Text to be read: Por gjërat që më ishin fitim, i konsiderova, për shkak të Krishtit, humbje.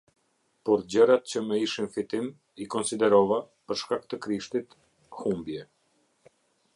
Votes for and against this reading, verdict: 2, 0, accepted